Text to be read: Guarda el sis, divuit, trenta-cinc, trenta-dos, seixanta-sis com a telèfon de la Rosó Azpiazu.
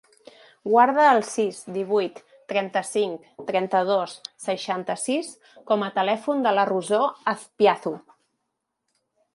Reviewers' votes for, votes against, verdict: 2, 0, accepted